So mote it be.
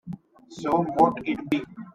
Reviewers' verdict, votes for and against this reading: accepted, 2, 0